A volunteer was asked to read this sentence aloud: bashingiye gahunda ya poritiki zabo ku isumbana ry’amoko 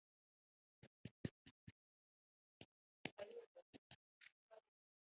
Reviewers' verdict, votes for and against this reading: rejected, 1, 2